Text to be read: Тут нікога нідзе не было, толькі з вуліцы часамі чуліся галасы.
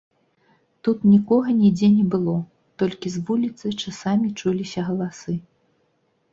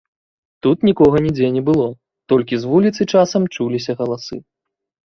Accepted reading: first